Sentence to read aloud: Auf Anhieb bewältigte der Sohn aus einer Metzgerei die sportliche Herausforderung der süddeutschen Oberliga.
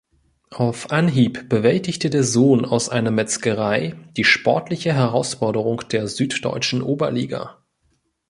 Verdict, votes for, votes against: accepted, 2, 0